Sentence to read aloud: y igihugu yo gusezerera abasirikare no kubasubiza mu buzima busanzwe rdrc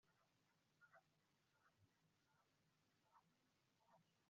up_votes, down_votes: 1, 3